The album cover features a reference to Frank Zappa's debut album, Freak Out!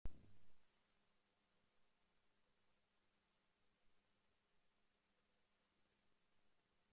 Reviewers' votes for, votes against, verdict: 0, 2, rejected